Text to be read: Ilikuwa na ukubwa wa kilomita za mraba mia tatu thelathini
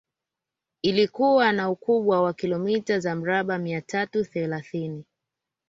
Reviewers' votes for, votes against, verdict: 2, 0, accepted